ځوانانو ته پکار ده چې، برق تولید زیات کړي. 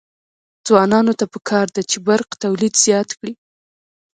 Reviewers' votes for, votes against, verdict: 2, 0, accepted